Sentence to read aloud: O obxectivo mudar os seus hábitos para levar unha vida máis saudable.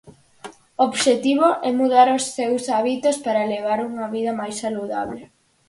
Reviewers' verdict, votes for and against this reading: rejected, 0, 4